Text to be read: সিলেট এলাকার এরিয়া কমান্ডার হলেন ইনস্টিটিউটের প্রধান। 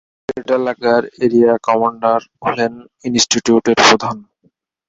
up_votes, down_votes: 0, 2